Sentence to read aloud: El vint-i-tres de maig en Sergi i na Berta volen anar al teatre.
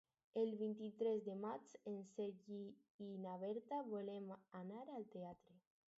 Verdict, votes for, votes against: rejected, 2, 4